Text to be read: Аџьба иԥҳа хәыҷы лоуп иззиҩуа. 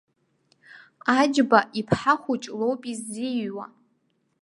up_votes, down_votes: 2, 0